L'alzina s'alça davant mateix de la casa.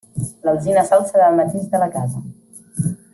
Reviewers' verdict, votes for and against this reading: accepted, 2, 1